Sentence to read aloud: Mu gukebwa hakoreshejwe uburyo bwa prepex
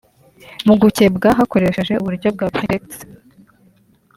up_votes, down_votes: 2, 1